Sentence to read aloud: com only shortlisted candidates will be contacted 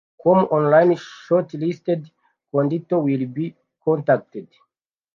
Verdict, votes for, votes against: accepted, 2, 1